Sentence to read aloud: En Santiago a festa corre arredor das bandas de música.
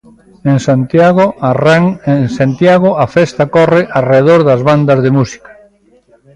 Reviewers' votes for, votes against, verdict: 0, 2, rejected